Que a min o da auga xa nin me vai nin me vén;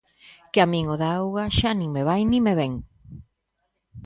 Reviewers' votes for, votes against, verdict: 2, 0, accepted